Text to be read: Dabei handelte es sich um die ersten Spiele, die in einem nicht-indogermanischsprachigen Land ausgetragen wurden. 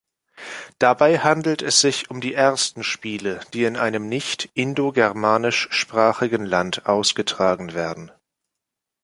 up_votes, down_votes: 0, 2